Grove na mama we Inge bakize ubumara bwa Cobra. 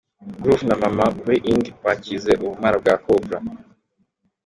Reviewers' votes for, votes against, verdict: 2, 0, accepted